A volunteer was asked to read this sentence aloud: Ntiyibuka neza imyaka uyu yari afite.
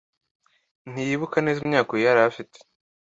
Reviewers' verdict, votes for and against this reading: accepted, 2, 0